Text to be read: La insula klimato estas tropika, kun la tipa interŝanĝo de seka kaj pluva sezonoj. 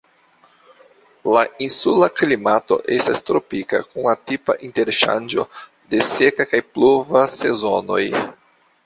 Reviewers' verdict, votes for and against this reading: accepted, 2, 0